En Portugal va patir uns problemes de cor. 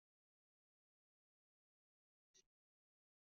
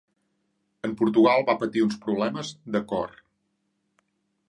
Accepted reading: second